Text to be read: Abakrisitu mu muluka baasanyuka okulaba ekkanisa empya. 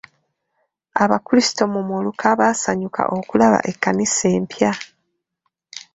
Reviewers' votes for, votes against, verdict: 2, 1, accepted